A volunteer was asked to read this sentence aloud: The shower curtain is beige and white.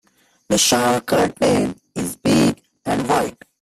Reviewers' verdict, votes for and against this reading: rejected, 0, 2